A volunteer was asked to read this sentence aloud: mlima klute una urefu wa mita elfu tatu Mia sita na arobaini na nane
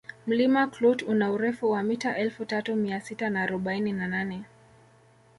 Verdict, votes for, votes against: rejected, 1, 2